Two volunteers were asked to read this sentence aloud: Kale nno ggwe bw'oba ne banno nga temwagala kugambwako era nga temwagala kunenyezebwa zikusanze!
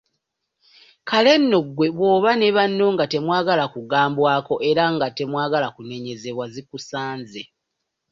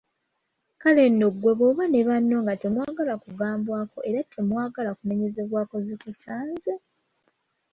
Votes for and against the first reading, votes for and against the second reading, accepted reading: 1, 2, 2, 0, second